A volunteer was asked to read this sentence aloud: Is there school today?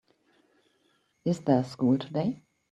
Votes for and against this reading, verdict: 2, 0, accepted